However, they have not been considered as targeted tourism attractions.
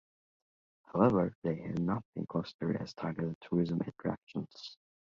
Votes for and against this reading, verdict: 2, 1, accepted